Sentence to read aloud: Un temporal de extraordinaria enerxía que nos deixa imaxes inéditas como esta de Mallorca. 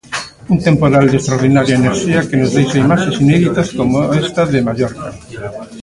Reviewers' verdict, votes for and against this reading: rejected, 0, 3